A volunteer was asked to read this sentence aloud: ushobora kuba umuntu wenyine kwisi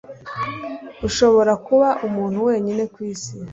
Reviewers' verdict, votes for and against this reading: accepted, 2, 0